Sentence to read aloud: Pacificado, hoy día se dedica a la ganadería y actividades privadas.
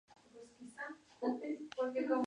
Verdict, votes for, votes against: rejected, 0, 4